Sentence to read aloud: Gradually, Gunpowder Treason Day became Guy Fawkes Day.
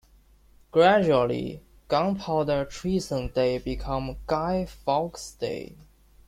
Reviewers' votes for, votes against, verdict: 2, 0, accepted